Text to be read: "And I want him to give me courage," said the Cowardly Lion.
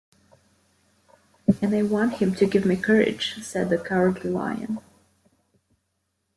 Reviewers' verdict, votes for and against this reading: accepted, 2, 0